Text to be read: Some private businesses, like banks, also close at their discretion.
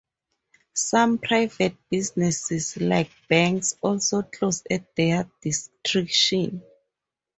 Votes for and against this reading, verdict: 0, 2, rejected